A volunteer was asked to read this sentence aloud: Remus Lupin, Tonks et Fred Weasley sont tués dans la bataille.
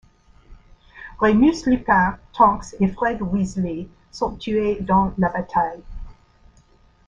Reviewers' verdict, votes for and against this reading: accepted, 2, 0